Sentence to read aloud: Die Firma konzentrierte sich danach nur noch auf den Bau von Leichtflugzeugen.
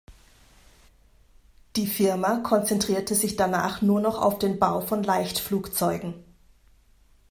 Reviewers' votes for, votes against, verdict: 2, 0, accepted